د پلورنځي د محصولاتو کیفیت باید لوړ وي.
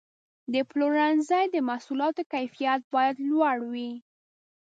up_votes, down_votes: 2, 0